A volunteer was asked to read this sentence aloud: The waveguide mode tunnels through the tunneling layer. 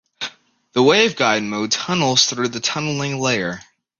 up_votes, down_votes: 2, 0